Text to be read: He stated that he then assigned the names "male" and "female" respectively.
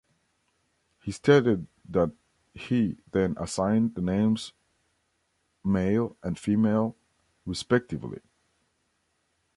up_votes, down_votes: 1, 2